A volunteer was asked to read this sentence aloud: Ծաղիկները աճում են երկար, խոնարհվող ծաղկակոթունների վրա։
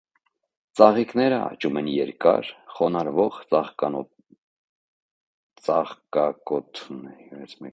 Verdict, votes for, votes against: rejected, 0, 2